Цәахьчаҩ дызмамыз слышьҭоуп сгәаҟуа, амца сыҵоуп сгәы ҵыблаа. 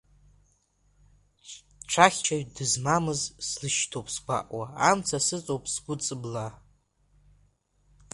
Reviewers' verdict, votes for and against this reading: accepted, 2, 1